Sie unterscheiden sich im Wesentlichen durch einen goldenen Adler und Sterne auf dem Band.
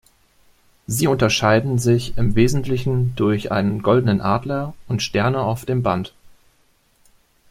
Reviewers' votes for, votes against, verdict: 2, 0, accepted